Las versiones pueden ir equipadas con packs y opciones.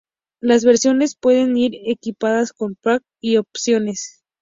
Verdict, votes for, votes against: rejected, 0, 2